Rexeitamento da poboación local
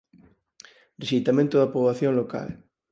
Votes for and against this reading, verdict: 4, 0, accepted